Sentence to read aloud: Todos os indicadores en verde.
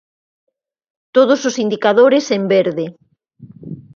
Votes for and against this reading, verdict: 4, 0, accepted